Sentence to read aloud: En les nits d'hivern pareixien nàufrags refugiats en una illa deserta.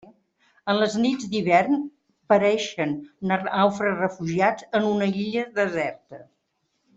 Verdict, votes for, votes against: rejected, 1, 2